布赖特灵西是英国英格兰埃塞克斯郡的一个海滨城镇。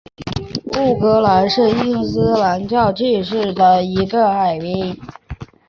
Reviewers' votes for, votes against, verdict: 2, 1, accepted